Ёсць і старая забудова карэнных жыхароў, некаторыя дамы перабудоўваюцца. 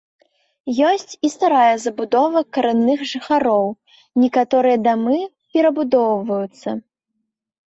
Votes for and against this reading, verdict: 0, 2, rejected